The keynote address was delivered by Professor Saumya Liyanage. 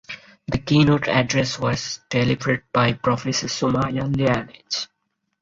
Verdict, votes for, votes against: rejected, 0, 4